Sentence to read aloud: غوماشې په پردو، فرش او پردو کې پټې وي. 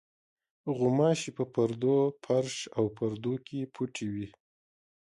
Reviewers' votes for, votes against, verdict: 1, 2, rejected